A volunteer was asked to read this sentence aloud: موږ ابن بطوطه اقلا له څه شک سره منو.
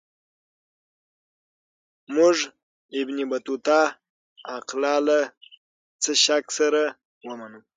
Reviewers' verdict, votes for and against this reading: rejected, 3, 6